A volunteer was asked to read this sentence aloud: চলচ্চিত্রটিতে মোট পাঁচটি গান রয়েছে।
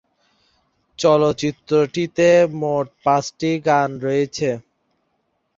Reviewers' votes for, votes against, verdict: 1, 2, rejected